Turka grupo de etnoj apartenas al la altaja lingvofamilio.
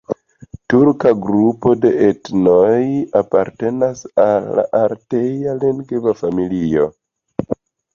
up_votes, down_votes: 2, 0